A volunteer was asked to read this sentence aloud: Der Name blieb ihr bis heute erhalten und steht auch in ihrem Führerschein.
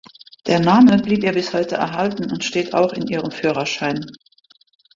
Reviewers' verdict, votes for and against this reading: accepted, 2, 0